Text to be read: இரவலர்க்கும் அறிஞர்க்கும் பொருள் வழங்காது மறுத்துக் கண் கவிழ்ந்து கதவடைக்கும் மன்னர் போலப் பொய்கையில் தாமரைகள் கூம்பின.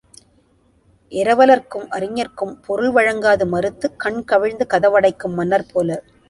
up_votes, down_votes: 0, 2